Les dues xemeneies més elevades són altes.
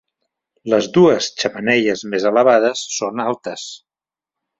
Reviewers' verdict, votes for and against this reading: accepted, 2, 0